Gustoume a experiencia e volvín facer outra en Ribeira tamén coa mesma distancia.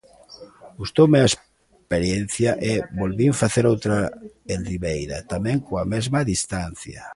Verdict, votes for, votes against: rejected, 0, 2